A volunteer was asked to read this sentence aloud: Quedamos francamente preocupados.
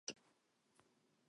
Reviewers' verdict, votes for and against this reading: rejected, 0, 4